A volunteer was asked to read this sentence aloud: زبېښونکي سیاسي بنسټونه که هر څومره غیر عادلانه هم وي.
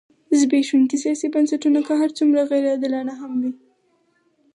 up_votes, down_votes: 2, 4